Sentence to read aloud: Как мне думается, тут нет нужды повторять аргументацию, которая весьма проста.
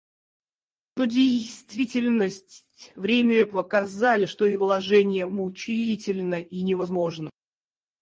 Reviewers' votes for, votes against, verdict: 0, 4, rejected